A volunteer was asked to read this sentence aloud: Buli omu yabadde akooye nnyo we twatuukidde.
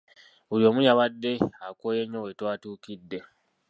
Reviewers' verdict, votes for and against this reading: accepted, 2, 1